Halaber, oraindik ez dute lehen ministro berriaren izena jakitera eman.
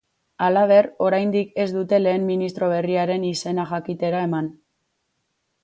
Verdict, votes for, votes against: accepted, 4, 0